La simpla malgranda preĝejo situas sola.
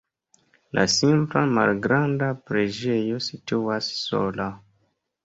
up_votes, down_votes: 2, 1